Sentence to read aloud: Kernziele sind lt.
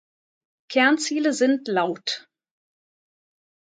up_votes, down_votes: 2, 0